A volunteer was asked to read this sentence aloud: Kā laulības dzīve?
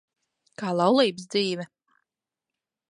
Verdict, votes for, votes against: accepted, 2, 0